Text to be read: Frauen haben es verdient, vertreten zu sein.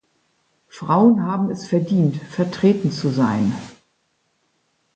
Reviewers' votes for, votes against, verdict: 2, 0, accepted